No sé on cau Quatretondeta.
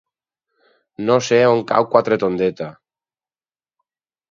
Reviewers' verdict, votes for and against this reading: accepted, 4, 0